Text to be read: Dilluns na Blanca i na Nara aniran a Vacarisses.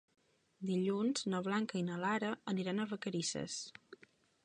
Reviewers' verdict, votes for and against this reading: rejected, 0, 2